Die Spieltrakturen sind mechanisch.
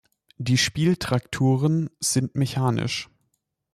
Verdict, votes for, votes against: accepted, 2, 0